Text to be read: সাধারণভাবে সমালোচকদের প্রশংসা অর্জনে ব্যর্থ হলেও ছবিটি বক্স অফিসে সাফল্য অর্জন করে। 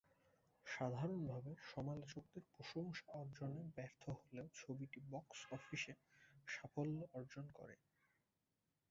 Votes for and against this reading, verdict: 0, 4, rejected